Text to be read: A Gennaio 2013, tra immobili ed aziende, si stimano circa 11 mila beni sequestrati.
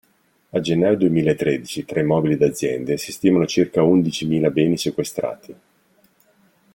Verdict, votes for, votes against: rejected, 0, 2